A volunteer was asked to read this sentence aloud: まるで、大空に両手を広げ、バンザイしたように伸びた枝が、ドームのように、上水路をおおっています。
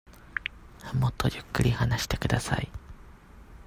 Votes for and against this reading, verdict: 0, 2, rejected